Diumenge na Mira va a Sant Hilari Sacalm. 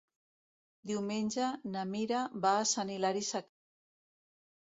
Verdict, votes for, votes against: rejected, 1, 2